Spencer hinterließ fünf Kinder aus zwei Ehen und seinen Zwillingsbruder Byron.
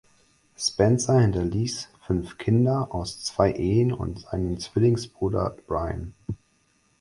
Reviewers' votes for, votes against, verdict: 0, 4, rejected